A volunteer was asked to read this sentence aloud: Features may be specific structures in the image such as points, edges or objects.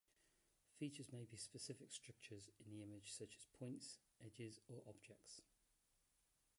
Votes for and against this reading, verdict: 0, 2, rejected